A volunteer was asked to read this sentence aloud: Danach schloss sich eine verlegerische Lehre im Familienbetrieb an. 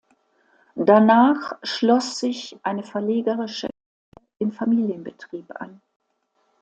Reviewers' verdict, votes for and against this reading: rejected, 0, 2